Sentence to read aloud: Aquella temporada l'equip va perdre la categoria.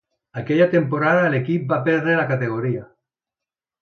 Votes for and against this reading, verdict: 2, 0, accepted